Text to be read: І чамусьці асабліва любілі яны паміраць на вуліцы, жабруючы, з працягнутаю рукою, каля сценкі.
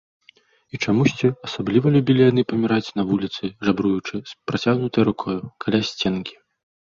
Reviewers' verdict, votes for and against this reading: rejected, 1, 2